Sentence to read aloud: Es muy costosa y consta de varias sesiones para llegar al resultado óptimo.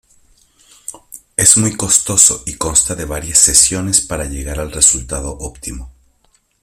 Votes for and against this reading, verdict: 1, 2, rejected